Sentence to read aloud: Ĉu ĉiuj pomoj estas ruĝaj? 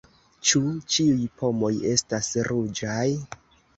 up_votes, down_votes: 2, 0